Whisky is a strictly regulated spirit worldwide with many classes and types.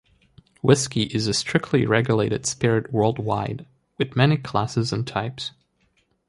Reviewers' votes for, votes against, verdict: 1, 2, rejected